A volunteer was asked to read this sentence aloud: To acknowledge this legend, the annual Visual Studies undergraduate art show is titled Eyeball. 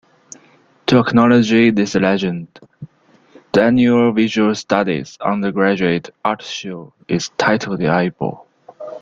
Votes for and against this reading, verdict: 0, 2, rejected